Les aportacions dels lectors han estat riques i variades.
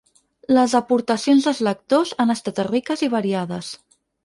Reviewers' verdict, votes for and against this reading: rejected, 2, 4